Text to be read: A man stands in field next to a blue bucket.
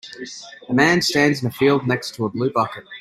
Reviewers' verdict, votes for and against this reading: rejected, 1, 2